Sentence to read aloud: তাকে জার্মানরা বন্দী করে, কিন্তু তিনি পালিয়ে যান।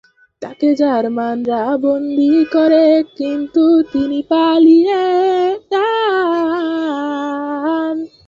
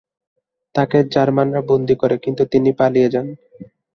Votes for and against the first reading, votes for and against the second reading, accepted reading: 0, 2, 2, 1, second